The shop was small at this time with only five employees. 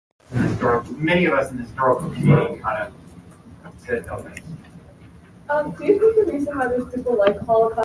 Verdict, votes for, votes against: rejected, 0, 2